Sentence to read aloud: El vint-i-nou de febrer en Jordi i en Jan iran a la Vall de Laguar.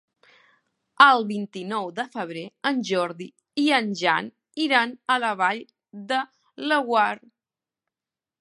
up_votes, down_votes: 2, 1